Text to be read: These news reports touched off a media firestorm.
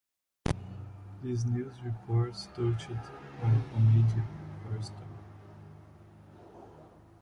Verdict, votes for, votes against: rejected, 1, 2